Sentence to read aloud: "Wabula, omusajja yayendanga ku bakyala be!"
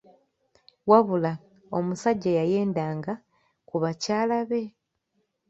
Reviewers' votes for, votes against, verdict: 3, 0, accepted